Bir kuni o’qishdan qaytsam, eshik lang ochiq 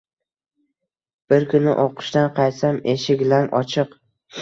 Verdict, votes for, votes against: accepted, 2, 0